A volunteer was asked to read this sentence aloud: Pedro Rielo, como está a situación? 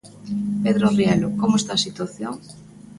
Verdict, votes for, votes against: accepted, 2, 0